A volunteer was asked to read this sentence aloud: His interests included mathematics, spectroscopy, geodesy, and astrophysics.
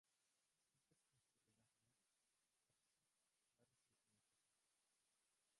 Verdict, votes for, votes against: rejected, 0, 2